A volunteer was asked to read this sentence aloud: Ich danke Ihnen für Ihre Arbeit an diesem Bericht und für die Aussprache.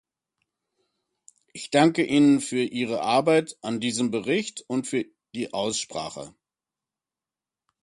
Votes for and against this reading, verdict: 2, 0, accepted